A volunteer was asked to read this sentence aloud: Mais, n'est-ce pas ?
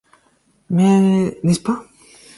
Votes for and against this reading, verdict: 4, 2, accepted